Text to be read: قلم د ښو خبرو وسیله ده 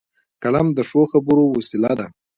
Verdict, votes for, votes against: accepted, 3, 1